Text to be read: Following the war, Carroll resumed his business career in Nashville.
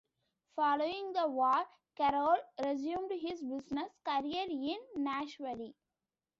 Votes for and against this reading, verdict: 2, 0, accepted